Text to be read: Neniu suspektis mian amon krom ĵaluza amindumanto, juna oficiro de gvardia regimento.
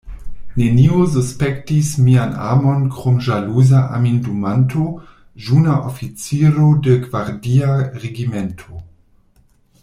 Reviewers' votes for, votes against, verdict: 1, 2, rejected